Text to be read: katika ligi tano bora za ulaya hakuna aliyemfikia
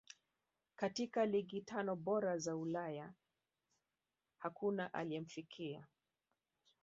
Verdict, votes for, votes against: accepted, 2, 1